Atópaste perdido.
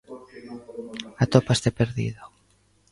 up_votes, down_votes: 1, 2